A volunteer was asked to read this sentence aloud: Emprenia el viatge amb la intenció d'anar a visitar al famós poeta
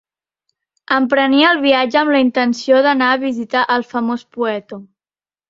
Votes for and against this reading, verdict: 1, 2, rejected